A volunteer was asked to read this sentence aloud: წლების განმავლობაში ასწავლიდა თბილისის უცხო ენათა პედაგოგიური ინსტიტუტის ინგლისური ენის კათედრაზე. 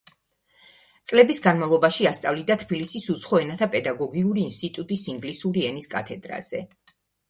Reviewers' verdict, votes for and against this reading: accepted, 2, 0